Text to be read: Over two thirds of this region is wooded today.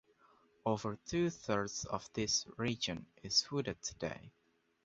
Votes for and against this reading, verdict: 2, 0, accepted